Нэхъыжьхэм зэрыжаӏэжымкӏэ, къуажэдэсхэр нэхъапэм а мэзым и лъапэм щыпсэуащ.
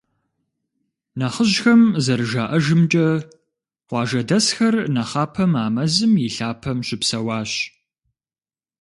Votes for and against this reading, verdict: 2, 0, accepted